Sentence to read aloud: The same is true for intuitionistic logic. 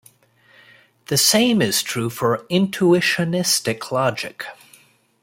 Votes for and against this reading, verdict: 0, 2, rejected